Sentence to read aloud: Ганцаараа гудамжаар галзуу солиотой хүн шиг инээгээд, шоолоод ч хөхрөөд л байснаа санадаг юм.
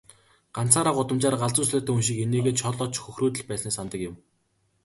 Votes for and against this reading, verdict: 2, 1, accepted